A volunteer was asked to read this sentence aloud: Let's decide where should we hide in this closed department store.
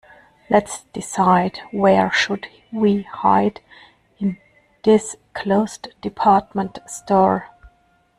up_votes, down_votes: 0, 2